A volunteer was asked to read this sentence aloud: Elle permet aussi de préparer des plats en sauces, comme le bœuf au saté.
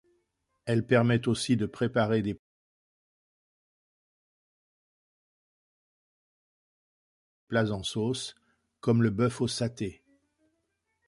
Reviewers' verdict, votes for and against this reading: rejected, 1, 2